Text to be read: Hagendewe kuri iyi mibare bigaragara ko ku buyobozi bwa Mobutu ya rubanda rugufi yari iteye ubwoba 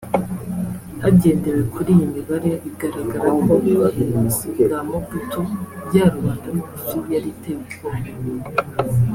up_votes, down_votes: 0, 2